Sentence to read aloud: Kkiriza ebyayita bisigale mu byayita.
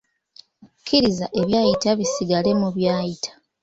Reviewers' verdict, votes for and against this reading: accepted, 2, 0